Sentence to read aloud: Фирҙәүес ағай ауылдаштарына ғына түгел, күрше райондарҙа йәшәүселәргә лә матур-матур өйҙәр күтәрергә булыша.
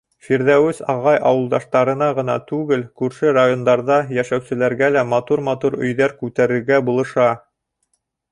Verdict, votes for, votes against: accepted, 2, 0